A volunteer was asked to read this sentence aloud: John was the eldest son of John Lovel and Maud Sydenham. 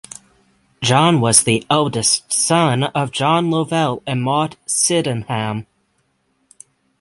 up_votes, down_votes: 6, 0